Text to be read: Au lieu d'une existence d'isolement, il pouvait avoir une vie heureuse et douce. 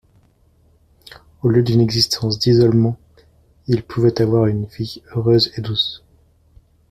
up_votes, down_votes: 2, 0